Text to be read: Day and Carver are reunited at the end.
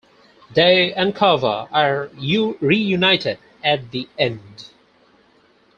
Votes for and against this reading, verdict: 0, 4, rejected